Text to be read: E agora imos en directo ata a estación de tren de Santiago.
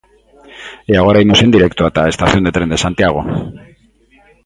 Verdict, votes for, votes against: rejected, 1, 5